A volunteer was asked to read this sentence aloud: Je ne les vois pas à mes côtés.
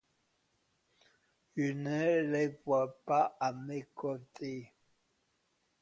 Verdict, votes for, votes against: accepted, 2, 0